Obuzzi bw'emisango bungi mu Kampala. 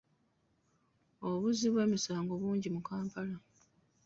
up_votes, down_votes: 2, 0